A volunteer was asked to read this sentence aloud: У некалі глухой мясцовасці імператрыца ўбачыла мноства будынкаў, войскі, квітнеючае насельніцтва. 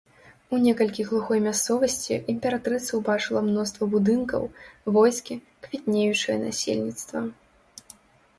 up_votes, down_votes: 1, 2